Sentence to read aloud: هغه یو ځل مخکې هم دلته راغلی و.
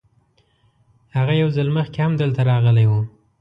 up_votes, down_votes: 2, 0